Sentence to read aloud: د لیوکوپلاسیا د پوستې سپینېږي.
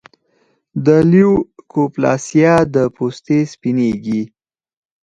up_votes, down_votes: 4, 0